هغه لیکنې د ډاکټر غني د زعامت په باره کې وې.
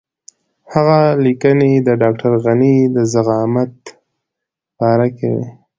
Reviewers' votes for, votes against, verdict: 2, 0, accepted